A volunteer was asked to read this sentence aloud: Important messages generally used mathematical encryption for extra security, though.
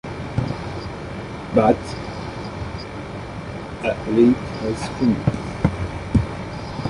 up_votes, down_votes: 0, 2